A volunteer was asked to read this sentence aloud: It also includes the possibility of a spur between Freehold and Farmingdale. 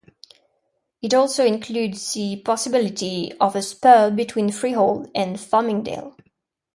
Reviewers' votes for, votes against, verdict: 2, 0, accepted